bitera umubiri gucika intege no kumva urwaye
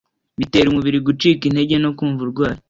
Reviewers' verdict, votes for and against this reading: accepted, 2, 1